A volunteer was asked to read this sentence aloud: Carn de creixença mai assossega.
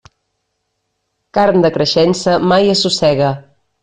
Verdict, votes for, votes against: accepted, 2, 0